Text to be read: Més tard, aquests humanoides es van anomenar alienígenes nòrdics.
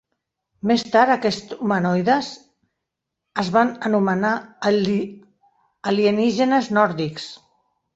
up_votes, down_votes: 1, 2